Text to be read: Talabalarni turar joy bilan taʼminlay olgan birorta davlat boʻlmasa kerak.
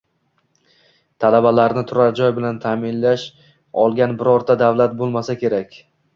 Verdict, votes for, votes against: accepted, 2, 0